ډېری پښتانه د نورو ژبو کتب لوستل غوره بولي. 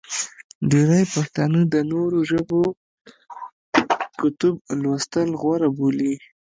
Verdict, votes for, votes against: rejected, 0, 2